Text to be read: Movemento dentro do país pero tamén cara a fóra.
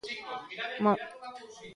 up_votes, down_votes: 0, 2